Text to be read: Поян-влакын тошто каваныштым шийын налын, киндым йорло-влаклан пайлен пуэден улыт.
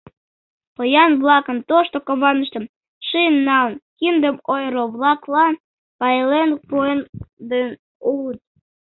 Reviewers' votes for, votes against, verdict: 0, 2, rejected